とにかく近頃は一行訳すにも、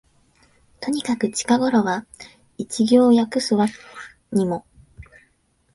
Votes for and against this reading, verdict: 1, 2, rejected